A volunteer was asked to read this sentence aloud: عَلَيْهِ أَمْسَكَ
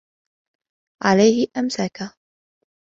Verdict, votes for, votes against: accepted, 2, 0